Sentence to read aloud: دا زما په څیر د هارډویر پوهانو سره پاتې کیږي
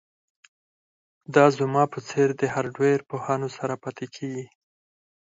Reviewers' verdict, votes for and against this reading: accepted, 4, 0